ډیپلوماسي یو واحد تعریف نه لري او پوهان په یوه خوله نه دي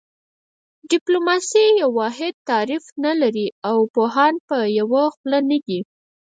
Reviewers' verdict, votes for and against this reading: rejected, 2, 4